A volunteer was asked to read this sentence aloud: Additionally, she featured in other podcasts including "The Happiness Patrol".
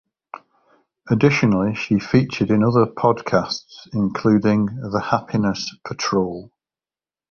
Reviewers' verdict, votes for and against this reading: accepted, 2, 0